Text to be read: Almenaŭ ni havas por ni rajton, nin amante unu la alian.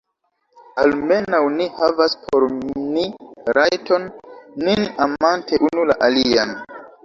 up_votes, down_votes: 0, 2